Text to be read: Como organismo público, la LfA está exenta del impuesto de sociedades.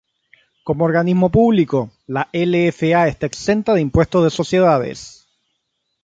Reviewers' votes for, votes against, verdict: 0, 3, rejected